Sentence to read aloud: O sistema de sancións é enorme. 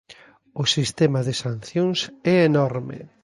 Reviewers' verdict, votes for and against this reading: accepted, 2, 0